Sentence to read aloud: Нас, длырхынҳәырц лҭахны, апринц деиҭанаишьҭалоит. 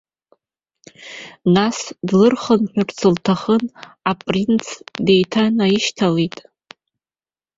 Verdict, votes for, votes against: rejected, 1, 2